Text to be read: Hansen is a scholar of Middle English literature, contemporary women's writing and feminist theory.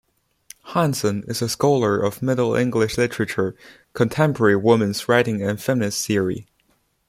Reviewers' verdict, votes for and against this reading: accepted, 2, 0